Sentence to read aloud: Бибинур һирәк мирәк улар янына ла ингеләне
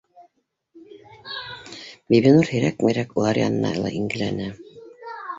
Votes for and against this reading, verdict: 0, 2, rejected